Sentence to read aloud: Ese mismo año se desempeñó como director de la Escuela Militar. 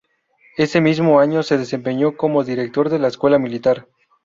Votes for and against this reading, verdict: 2, 0, accepted